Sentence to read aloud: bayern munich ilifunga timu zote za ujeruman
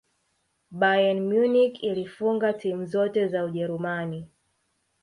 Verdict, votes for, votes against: accepted, 4, 0